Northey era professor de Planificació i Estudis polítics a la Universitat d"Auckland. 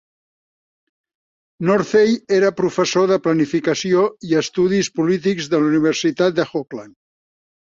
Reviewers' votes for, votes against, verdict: 0, 2, rejected